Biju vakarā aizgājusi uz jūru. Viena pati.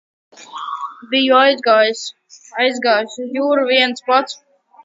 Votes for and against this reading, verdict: 0, 2, rejected